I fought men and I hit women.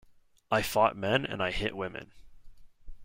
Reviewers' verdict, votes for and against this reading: rejected, 1, 2